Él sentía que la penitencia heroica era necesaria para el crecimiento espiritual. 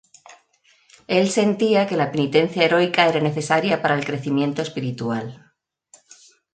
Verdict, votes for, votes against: rejected, 0, 2